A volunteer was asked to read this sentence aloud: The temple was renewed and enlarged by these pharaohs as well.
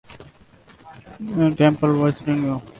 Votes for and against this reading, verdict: 0, 2, rejected